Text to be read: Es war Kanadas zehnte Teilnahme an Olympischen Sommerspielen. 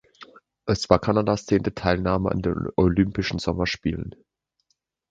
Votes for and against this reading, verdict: 0, 2, rejected